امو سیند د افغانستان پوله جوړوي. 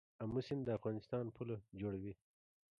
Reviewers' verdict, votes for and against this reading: rejected, 1, 2